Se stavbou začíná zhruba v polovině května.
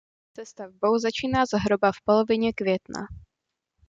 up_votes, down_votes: 2, 0